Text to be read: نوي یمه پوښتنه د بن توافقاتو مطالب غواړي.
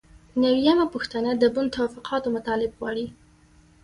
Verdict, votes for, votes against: accepted, 2, 0